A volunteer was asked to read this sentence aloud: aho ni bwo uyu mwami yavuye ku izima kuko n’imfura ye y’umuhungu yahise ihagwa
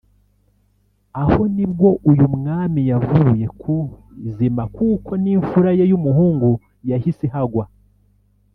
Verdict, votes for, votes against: rejected, 0, 2